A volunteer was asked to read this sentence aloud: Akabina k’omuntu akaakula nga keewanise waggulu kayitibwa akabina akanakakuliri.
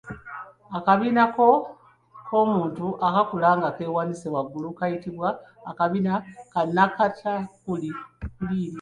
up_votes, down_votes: 2, 1